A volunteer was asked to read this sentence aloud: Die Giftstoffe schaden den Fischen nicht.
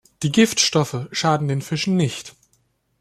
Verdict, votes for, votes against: accepted, 2, 0